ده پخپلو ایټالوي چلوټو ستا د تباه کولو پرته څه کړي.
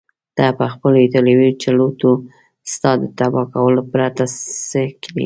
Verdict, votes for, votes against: accepted, 2, 1